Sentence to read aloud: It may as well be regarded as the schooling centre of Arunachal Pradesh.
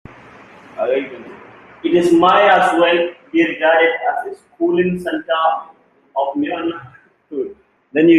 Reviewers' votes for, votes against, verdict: 0, 2, rejected